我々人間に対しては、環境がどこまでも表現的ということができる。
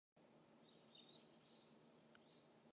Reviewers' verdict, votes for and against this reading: rejected, 0, 2